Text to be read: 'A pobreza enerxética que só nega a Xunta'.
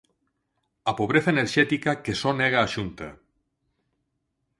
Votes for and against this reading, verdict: 4, 0, accepted